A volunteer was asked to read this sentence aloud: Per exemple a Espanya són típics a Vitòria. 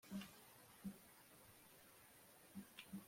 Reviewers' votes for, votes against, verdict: 0, 2, rejected